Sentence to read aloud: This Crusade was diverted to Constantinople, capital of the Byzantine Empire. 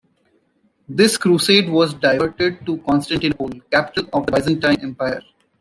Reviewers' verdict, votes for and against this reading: rejected, 0, 2